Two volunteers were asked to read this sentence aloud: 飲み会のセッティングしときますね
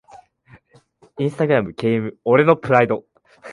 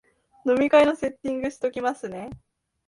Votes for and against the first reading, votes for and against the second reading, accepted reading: 0, 2, 2, 0, second